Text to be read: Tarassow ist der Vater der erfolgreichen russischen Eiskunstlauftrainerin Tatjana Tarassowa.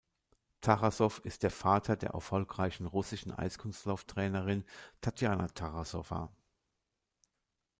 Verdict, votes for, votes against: rejected, 1, 2